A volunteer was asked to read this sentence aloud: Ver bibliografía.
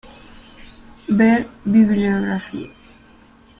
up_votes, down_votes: 2, 0